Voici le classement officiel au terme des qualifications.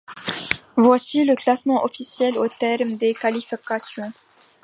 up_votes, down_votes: 3, 0